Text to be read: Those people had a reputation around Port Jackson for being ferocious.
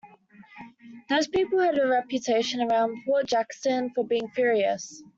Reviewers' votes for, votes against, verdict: 0, 2, rejected